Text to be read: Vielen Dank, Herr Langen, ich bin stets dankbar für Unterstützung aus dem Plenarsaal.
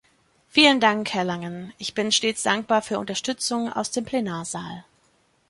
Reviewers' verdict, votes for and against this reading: accepted, 2, 0